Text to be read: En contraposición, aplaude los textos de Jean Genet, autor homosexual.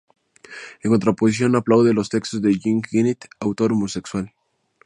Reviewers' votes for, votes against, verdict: 0, 2, rejected